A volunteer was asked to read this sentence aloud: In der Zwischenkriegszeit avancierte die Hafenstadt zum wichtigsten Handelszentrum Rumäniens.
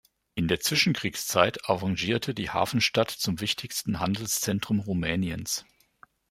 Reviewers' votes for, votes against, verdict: 0, 2, rejected